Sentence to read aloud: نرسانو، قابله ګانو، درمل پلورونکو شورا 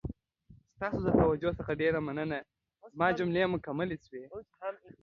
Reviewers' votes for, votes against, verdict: 0, 2, rejected